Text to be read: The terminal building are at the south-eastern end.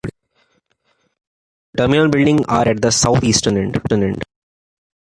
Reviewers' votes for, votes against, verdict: 0, 2, rejected